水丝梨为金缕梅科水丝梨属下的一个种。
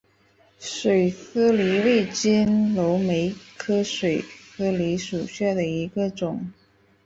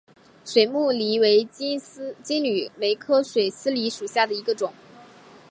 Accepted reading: first